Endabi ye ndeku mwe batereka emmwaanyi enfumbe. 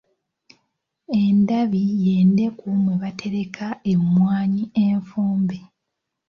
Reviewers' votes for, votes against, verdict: 2, 0, accepted